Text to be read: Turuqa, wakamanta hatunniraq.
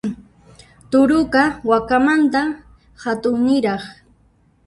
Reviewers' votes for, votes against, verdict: 0, 2, rejected